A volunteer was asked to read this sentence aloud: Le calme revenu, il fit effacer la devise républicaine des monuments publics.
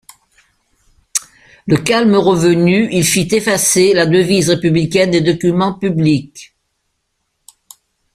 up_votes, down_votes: 1, 2